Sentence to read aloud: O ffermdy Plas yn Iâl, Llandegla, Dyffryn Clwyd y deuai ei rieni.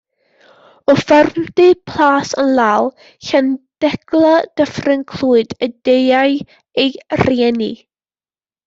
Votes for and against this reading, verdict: 2, 0, accepted